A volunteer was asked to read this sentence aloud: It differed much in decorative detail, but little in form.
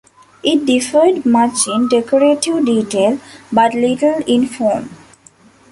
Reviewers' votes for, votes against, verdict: 2, 0, accepted